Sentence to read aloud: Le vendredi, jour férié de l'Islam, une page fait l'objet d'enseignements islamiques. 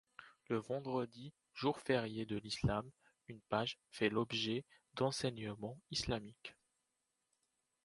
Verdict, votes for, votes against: accepted, 2, 0